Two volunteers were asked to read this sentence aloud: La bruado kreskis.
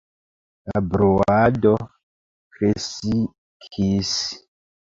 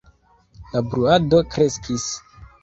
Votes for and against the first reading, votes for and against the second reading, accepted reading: 0, 2, 2, 1, second